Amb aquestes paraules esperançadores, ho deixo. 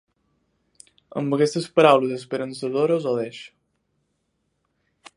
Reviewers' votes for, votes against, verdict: 3, 2, accepted